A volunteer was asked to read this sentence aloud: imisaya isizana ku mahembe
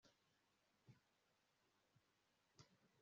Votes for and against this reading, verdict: 1, 2, rejected